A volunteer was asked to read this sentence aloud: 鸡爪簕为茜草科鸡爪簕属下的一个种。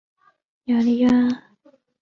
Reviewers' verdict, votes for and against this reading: rejected, 0, 2